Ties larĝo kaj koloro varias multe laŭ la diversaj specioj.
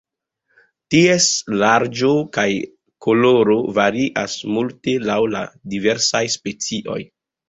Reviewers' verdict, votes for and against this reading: accepted, 2, 0